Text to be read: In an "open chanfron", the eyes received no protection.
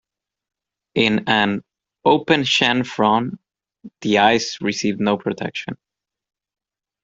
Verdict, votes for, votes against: accepted, 2, 0